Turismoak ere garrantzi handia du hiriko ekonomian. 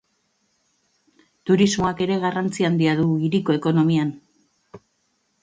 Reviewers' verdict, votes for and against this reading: accepted, 2, 0